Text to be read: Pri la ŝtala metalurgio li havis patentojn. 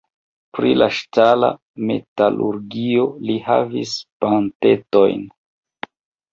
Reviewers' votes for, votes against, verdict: 1, 2, rejected